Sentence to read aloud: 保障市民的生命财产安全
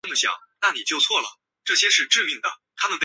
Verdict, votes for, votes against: rejected, 2, 3